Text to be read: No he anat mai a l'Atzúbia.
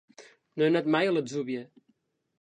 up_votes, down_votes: 2, 0